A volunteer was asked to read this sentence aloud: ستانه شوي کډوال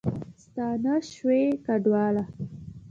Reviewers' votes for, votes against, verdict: 2, 1, accepted